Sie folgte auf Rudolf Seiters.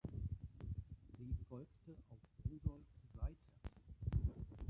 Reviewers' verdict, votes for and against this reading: rejected, 0, 2